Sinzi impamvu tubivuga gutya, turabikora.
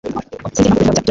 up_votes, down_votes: 1, 2